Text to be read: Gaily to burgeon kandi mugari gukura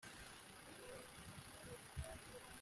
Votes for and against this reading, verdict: 1, 2, rejected